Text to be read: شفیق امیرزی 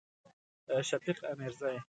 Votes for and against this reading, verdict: 2, 0, accepted